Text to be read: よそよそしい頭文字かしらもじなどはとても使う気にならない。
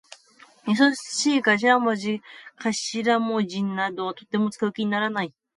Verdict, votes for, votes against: rejected, 0, 2